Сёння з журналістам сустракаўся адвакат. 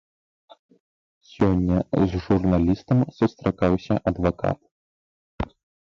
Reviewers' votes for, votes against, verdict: 0, 3, rejected